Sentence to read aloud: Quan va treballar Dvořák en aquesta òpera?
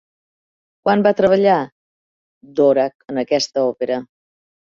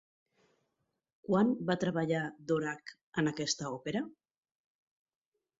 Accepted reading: second